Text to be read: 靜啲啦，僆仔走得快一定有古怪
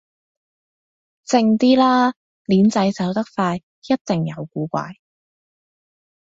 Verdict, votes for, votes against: accepted, 2, 1